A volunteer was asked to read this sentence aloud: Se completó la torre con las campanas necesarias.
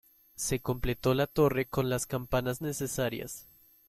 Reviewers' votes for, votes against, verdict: 2, 0, accepted